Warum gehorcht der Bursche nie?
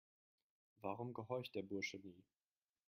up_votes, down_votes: 2, 0